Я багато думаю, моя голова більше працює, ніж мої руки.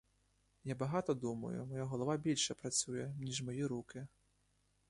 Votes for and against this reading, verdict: 2, 0, accepted